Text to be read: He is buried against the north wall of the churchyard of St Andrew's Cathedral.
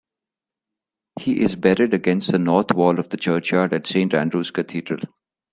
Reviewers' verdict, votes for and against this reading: rejected, 0, 2